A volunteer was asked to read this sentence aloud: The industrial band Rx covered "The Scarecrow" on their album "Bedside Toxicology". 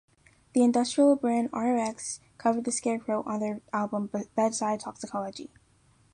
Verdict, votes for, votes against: rejected, 1, 2